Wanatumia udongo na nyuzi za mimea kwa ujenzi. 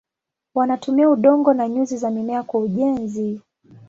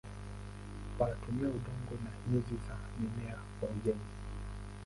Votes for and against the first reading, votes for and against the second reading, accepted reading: 5, 0, 4, 13, first